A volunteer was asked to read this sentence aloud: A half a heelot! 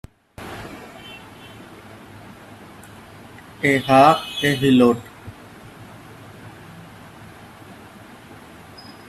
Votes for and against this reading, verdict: 0, 3, rejected